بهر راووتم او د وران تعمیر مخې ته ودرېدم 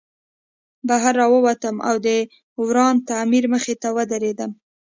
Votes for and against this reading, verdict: 2, 0, accepted